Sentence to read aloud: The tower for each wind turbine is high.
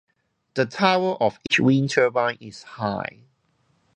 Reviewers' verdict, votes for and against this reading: rejected, 0, 2